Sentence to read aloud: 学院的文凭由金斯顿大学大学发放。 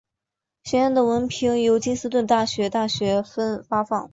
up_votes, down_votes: 1, 2